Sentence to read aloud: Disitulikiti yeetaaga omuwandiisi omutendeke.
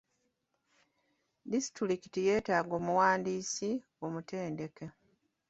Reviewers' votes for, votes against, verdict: 1, 2, rejected